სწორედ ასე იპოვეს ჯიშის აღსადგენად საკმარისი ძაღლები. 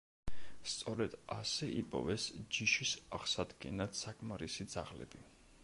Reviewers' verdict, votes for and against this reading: accepted, 2, 0